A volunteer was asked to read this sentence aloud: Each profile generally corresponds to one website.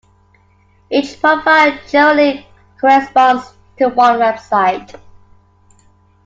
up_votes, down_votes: 2, 1